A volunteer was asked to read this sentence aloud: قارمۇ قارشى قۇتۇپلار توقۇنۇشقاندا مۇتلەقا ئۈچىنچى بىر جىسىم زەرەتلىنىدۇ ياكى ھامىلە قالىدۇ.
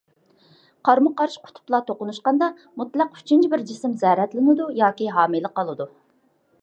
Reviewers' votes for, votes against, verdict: 2, 0, accepted